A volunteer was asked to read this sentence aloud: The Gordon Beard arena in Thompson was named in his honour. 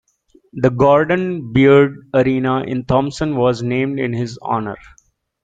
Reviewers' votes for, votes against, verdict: 2, 0, accepted